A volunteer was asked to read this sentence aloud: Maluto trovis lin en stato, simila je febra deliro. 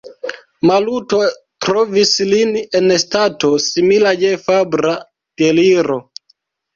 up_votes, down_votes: 1, 2